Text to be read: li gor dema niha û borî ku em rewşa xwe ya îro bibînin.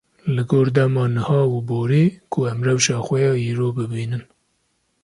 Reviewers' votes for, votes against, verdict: 2, 0, accepted